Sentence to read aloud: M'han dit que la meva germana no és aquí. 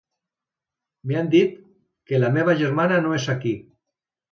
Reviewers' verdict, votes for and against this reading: rejected, 1, 2